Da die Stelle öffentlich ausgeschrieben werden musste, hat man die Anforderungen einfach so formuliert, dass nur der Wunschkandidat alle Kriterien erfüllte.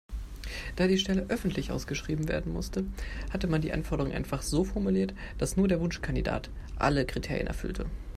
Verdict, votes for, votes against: rejected, 1, 2